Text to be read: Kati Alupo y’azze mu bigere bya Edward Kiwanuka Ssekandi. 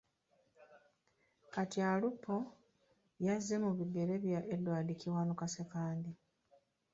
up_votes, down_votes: 1, 2